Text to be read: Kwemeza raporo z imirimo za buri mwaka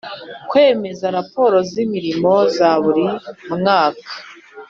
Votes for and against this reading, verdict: 2, 0, accepted